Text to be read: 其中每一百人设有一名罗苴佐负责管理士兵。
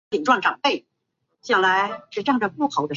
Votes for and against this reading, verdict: 0, 2, rejected